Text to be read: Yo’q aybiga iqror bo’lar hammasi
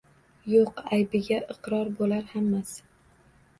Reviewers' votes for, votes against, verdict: 2, 0, accepted